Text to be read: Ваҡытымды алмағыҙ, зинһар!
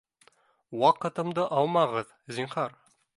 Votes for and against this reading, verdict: 2, 0, accepted